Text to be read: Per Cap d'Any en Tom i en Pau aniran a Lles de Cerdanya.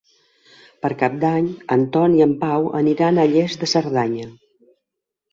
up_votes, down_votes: 2, 0